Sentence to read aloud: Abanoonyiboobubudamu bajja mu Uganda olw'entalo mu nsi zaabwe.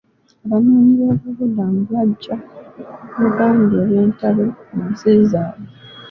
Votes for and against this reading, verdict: 1, 2, rejected